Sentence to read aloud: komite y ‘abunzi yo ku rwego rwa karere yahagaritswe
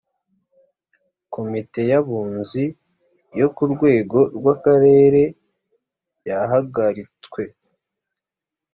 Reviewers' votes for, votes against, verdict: 2, 0, accepted